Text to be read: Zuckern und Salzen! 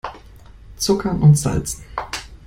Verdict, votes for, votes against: accepted, 2, 0